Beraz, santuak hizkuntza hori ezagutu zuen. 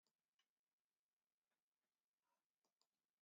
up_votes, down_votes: 0, 2